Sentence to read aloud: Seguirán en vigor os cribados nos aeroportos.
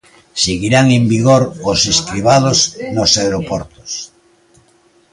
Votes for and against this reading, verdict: 0, 2, rejected